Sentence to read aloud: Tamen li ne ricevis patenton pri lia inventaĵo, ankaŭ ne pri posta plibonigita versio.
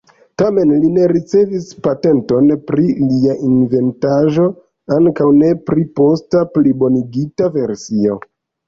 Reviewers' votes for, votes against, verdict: 1, 2, rejected